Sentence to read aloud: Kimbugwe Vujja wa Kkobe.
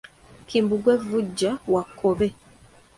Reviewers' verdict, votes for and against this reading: accepted, 2, 0